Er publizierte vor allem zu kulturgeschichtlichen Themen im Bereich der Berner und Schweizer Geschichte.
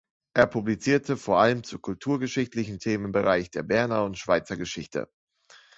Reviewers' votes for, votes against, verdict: 2, 1, accepted